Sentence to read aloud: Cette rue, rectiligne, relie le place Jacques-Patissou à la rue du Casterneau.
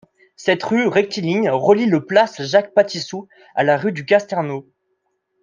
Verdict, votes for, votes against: accepted, 2, 0